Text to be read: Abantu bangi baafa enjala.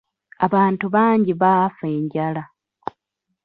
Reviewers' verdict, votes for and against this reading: rejected, 0, 2